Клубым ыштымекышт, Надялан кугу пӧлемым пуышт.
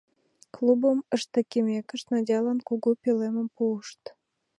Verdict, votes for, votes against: rejected, 0, 2